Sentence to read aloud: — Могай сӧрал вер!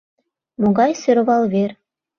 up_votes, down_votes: 0, 2